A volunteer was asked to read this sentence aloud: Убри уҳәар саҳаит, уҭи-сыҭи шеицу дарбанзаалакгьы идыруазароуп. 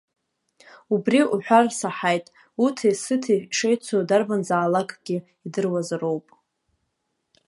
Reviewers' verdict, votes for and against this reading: accepted, 2, 0